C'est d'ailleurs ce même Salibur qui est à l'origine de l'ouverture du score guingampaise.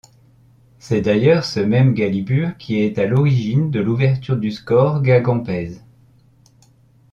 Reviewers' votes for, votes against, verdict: 0, 2, rejected